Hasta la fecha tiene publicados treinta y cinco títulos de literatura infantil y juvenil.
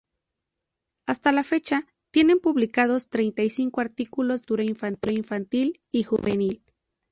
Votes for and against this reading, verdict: 0, 2, rejected